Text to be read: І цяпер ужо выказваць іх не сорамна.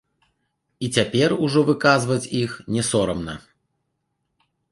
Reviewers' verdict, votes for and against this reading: accepted, 2, 0